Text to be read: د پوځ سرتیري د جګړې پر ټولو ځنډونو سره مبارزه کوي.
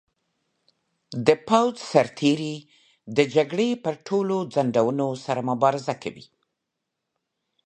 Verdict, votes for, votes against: accepted, 2, 0